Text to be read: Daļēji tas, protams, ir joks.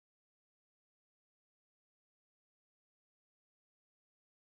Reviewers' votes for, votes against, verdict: 0, 2, rejected